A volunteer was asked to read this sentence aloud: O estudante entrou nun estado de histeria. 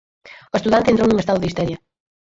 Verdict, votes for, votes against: accepted, 4, 2